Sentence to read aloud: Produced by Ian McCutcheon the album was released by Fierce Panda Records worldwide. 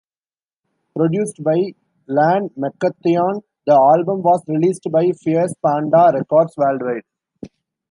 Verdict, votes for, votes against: rejected, 0, 2